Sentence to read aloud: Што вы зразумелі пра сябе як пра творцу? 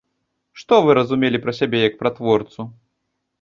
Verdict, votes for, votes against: rejected, 1, 2